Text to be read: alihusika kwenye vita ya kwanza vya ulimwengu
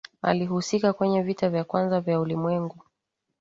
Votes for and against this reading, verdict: 2, 0, accepted